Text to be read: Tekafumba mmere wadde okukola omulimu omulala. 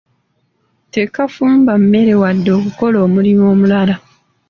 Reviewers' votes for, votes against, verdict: 2, 0, accepted